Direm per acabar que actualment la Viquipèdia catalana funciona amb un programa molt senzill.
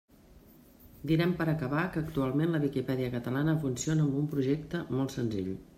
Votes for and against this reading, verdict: 1, 2, rejected